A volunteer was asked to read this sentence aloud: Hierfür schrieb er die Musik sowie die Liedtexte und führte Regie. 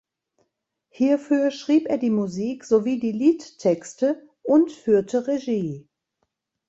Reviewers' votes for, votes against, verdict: 2, 0, accepted